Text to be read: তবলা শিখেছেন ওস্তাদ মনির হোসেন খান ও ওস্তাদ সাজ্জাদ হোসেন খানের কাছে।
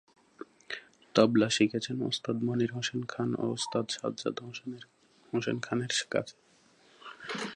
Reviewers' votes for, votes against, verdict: 3, 5, rejected